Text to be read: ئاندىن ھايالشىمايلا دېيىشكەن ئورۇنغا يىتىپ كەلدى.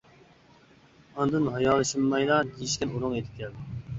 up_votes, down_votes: 2, 1